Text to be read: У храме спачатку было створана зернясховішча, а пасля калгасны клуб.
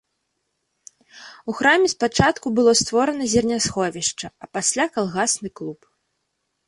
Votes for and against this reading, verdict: 2, 0, accepted